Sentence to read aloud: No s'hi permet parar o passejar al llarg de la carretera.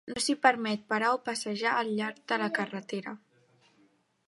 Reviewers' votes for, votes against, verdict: 3, 1, accepted